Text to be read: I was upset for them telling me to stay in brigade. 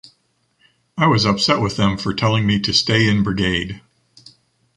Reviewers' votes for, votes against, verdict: 2, 0, accepted